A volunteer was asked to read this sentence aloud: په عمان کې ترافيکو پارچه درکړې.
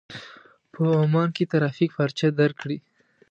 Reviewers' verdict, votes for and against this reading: accepted, 2, 0